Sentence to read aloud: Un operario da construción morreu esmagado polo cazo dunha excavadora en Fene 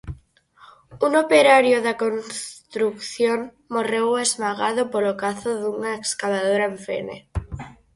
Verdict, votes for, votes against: rejected, 0, 4